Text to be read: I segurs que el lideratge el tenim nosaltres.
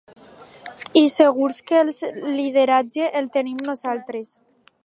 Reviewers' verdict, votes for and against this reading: accepted, 2, 0